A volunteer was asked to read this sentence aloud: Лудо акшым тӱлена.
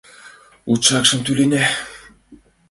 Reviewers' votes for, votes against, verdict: 0, 2, rejected